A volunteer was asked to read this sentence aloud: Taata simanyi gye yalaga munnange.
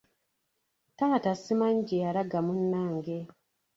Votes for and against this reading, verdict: 2, 0, accepted